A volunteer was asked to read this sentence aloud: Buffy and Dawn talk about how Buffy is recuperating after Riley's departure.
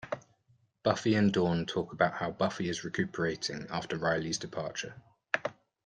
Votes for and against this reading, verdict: 2, 0, accepted